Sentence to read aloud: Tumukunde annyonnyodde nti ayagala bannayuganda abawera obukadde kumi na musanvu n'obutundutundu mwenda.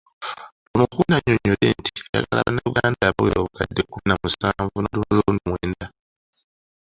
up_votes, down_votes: 1, 2